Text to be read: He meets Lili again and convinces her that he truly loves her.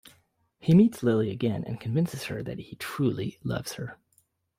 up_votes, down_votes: 2, 1